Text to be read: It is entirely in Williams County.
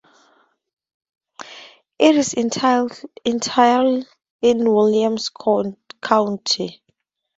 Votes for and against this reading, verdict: 0, 4, rejected